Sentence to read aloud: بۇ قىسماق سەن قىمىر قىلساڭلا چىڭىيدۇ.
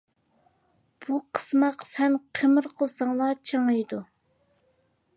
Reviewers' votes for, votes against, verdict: 2, 0, accepted